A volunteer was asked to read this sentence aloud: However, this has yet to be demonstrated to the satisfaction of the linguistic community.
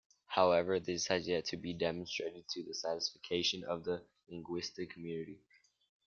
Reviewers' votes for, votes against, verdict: 0, 2, rejected